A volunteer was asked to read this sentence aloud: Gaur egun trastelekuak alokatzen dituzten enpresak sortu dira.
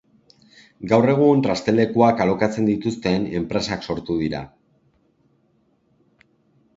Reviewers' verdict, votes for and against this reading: accepted, 2, 0